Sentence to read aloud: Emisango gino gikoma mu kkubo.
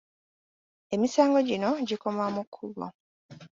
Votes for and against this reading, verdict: 3, 0, accepted